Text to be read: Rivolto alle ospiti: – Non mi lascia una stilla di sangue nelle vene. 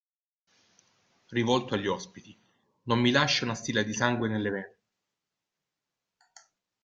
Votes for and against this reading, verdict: 1, 2, rejected